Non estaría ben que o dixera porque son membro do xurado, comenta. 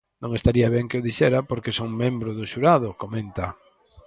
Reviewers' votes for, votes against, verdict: 4, 0, accepted